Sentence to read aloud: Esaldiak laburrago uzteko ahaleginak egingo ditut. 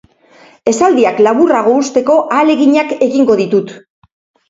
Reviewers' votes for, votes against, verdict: 2, 0, accepted